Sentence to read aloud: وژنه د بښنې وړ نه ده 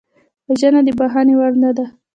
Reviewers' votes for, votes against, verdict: 1, 2, rejected